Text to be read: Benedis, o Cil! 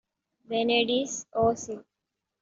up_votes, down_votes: 2, 1